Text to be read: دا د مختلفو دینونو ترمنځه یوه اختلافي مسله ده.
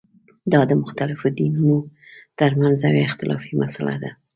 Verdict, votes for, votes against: accepted, 2, 0